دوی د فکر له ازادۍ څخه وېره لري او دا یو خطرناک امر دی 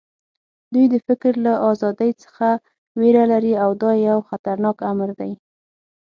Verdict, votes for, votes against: accepted, 6, 0